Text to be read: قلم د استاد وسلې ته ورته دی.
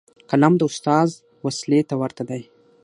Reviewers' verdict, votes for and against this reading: accepted, 6, 0